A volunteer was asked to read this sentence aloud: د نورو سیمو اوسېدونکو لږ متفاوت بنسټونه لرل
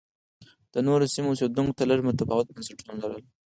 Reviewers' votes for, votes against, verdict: 2, 4, rejected